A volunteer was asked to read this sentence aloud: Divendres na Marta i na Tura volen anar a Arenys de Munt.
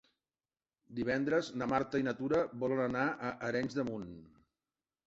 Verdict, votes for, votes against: accepted, 3, 0